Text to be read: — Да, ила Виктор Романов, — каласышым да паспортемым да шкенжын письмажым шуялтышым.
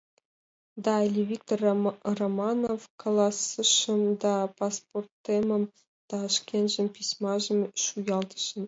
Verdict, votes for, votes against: rejected, 1, 2